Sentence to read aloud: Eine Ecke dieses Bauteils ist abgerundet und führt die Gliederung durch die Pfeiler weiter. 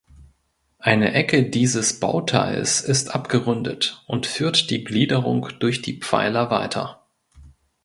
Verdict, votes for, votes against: accepted, 2, 0